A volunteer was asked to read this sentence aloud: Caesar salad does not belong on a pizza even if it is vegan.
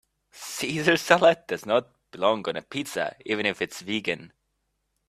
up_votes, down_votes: 1, 2